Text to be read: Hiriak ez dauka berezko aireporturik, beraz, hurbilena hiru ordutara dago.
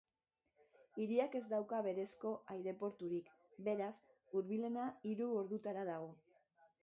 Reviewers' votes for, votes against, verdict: 0, 3, rejected